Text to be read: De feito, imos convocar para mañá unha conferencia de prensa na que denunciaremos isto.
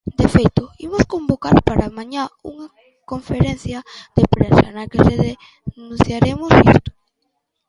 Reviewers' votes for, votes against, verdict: 0, 2, rejected